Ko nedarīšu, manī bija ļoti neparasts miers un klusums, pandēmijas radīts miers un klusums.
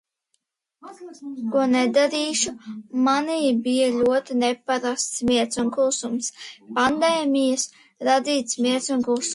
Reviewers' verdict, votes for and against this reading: rejected, 0, 2